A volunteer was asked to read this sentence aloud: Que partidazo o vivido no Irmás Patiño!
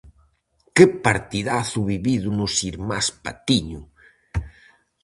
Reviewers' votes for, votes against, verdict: 0, 4, rejected